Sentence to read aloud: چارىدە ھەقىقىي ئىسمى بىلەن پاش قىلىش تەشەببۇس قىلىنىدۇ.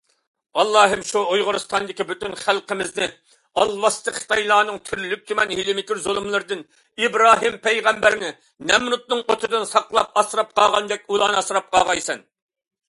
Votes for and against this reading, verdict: 0, 2, rejected